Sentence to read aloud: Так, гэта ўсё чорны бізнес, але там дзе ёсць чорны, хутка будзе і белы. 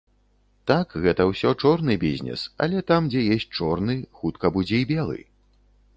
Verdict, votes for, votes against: rejected, 1, 2